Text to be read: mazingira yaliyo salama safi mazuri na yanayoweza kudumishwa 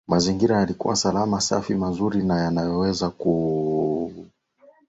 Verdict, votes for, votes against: rejected, 0, 2